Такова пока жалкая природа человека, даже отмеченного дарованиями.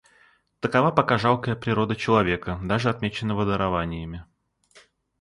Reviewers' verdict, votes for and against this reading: accepted, 2, 0